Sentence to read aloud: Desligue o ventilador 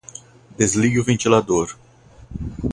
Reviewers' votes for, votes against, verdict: 2, 0, accepted